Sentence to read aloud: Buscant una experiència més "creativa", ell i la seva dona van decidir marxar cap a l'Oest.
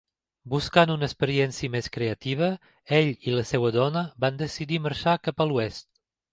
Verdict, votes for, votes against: accepted, 2, 1